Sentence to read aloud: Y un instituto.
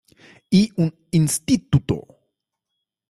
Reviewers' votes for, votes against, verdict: 0, 2, rejected